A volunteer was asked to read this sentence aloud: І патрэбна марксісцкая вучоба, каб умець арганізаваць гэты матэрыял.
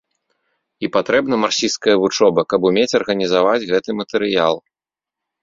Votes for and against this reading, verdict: 2, 0, accepted